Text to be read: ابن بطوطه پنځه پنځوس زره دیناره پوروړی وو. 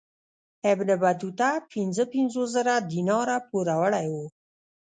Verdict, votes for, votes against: rejected, 1, 2